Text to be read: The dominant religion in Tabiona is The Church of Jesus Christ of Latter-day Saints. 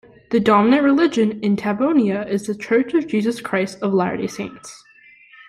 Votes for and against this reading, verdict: 0, 2, rejected